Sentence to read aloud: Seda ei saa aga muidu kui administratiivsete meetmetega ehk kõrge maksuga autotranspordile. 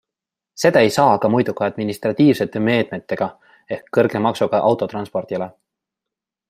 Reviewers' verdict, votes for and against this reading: accepted, 2, 0